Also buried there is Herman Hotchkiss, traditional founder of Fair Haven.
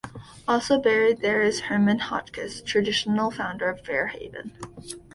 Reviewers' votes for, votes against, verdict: 2, 0, accepted